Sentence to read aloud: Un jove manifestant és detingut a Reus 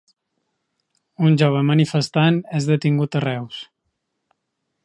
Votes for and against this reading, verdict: 3, 0, accepted